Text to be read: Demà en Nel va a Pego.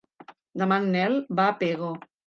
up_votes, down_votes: 2, 0